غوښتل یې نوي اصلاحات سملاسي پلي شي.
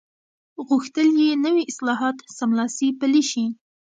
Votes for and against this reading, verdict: 1, 2, rejected